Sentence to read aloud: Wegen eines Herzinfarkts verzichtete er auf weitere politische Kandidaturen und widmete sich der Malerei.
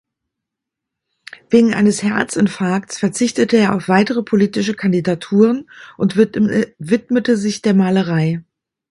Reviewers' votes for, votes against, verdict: 1, 2, rejected